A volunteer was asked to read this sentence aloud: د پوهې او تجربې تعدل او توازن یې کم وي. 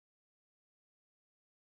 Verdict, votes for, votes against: rejected, 1, 2